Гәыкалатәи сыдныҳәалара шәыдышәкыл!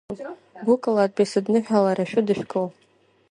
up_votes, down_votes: 3, 0